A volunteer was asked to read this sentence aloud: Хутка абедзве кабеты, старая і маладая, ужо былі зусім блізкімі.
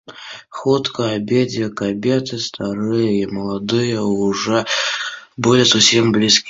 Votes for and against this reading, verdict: 0, 2, rejected